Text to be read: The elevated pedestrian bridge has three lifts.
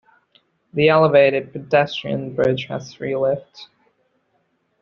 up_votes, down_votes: 2, 0